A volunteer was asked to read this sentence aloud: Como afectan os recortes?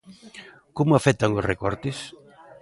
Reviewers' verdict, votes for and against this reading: accepted, 2, 0